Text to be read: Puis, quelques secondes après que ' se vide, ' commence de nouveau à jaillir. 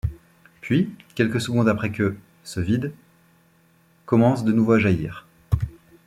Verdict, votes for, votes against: accepted, 2, 0